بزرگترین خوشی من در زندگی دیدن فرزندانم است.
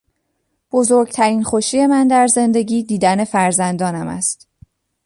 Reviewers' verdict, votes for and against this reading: accepted, 2, 0